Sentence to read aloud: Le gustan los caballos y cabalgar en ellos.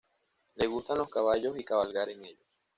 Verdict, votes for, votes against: accepted, 2, 0